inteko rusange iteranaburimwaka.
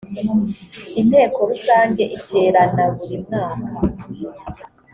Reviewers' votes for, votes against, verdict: 2, 0, accepted